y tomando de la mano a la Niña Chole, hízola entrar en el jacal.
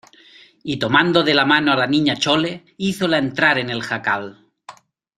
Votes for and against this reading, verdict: 2, 0, accepted